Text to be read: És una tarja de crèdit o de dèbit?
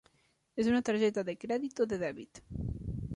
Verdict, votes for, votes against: rejected, 1, 2